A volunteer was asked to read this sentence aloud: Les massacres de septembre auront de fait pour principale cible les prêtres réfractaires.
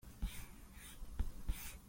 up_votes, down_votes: 0, 2